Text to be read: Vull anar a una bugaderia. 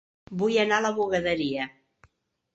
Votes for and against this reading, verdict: 1, 2, rejected